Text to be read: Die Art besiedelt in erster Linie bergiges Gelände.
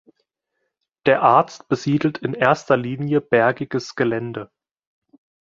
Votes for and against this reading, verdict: 0, 2, rejected